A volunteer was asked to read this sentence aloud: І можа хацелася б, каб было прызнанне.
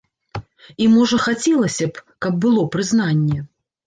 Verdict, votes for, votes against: accepted, 2, 0